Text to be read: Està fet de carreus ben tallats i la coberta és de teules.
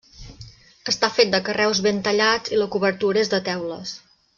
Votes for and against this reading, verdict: 0, 2, rejected